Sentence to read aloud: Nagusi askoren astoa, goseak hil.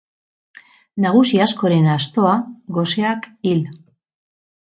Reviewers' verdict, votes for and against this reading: rejected, 0, 2